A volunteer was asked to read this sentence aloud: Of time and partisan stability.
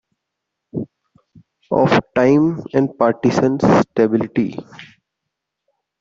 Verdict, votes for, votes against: accepted, 2, 1